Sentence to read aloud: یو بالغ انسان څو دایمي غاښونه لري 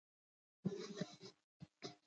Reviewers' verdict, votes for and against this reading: rejected, 1, 2